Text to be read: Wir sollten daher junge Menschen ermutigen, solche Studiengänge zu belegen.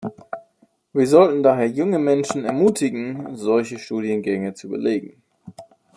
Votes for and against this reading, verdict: 2, 0, accepted